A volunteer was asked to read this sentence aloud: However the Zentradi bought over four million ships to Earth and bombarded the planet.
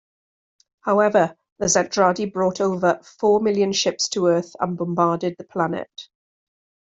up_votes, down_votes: 2, 0